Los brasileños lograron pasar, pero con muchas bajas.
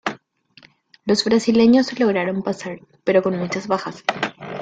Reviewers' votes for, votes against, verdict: 0, 2, rejected